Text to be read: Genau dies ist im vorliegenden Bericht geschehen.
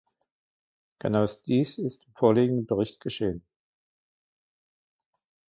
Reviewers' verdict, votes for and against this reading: rejected, 0, 2